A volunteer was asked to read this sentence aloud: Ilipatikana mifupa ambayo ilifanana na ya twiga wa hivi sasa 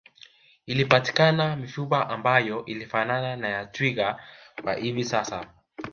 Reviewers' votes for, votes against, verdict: 1, 2, rejected